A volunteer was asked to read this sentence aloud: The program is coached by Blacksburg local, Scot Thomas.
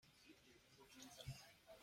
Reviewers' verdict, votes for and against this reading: rejected, 0, 2